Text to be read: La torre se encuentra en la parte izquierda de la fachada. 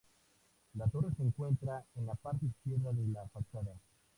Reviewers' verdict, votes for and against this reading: accepted, 2, 0